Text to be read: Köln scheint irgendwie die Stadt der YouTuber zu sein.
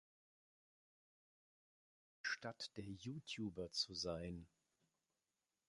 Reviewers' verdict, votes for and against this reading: rejected, 0, 2